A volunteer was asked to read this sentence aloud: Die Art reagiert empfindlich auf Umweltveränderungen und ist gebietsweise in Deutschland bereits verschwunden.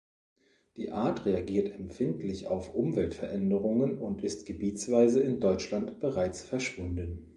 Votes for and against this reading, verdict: 2, 0, accepted